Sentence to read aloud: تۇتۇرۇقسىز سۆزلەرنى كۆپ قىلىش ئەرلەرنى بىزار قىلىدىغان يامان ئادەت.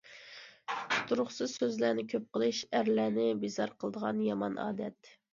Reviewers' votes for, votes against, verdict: 2, 0, accepted